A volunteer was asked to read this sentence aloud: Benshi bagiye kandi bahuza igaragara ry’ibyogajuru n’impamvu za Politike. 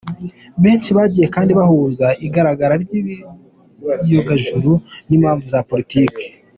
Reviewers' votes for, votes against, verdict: 0, 2, rejected